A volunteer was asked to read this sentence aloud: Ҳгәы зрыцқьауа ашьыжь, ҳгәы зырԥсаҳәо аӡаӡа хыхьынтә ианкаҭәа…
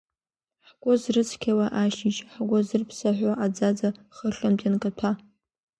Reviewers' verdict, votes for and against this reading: accepted, 2, 1